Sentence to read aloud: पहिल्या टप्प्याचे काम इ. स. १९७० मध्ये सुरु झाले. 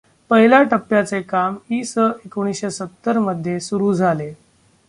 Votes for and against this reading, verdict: 0, 2, rejected